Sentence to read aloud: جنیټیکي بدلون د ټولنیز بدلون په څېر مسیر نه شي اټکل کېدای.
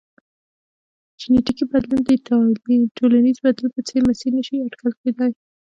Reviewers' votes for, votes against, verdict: 3, 0, accepted